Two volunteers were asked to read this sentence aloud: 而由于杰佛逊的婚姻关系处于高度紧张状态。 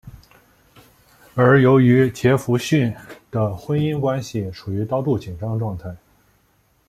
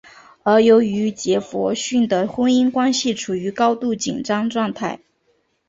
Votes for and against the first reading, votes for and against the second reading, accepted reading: 0, 2, 2, 0, second